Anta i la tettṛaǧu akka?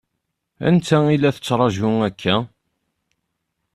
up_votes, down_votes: 2, 0